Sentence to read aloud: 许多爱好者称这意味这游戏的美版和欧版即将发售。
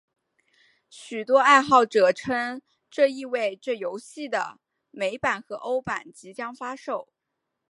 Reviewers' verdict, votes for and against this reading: accepted, 4, 0